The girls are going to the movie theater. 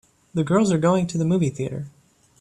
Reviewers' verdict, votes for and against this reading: accepted, 2, 0